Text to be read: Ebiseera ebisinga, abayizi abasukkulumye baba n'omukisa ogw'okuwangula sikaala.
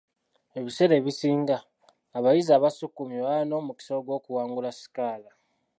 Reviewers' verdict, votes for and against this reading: accepted, 2, 1